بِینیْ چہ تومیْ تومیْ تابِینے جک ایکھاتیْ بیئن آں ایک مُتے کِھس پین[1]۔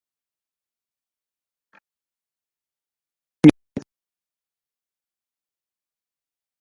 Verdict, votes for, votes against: rejected, 0, 2